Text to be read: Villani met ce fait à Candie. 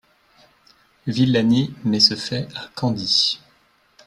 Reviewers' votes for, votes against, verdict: 2, 0, accepted